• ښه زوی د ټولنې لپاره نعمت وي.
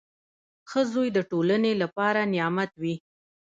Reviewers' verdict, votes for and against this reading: accepted, 2, 0